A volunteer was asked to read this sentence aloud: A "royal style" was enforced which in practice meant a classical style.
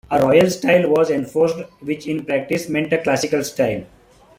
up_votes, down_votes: 2, 0